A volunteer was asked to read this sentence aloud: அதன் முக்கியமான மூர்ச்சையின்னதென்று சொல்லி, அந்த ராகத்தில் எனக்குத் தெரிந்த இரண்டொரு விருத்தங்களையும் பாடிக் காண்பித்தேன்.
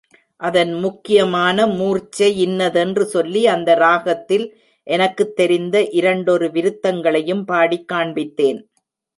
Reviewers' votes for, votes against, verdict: 3, 0, accepted